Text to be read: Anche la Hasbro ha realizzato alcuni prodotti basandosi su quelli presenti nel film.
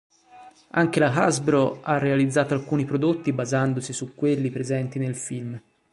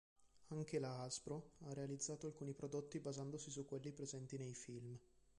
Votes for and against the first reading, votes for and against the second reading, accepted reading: 3, 1, 0, 2, first